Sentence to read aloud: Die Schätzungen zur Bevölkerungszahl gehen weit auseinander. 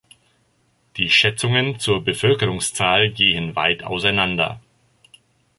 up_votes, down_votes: 2, 0